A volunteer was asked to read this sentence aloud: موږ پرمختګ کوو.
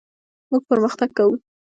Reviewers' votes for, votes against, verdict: 2, 0, accepted